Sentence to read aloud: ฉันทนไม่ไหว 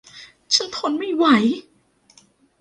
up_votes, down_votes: 1, 2